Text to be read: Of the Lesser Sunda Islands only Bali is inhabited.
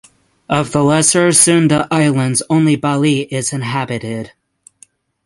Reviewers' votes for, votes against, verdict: 6, 0, accepted